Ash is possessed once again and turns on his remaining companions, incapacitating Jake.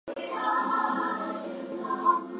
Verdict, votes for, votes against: rejected, 0, 4